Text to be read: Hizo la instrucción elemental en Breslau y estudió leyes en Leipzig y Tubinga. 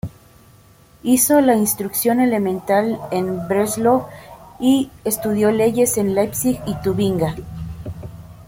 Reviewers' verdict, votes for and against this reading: accepted, 2, 0